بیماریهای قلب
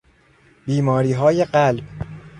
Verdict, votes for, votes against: accepted, 2, 0